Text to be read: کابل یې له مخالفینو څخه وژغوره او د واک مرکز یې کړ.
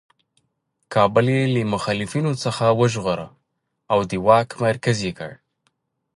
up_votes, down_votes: 2, 1